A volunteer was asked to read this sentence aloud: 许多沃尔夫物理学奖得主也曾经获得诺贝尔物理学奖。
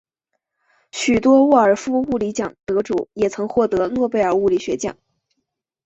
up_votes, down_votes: 0, 2